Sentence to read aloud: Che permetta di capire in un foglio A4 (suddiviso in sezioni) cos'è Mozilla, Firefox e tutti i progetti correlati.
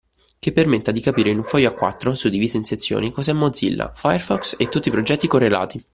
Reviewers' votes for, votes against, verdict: 0, 2, rejected